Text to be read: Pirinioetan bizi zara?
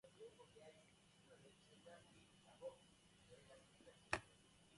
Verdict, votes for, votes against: rejected, 0, 2